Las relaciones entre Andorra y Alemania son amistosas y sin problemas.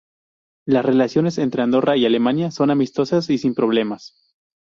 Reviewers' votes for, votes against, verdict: 2, 0, accepted